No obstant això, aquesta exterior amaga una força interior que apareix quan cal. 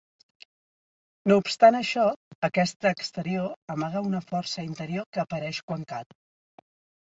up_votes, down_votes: 2, 0